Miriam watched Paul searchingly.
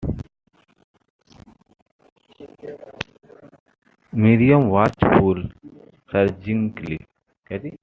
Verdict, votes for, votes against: rejected, 1, 2